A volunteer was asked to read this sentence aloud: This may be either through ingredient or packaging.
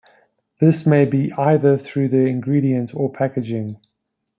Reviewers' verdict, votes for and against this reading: rejected, 0, 2